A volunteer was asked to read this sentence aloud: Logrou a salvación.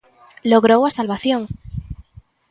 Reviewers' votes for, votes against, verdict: 2, 0, accepted